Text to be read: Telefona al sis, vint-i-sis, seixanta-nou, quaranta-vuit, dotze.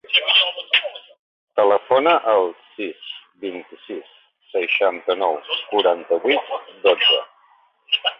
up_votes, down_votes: 0, 3